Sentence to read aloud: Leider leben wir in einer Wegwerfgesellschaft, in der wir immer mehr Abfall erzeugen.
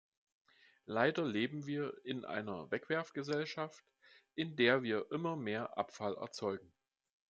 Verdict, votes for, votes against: accepted, 2, 0